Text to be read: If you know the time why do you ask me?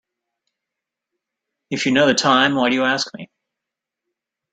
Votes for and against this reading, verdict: 2, 0, accepted